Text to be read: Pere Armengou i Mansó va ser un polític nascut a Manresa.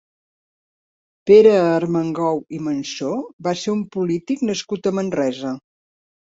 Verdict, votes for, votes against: accepted, 3, 0